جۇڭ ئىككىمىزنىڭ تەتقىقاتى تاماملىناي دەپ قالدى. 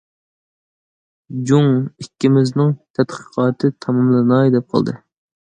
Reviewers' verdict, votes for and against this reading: accepted, 2, 0